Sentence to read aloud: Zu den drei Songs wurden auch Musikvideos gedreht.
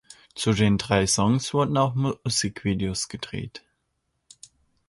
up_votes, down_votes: 0, 2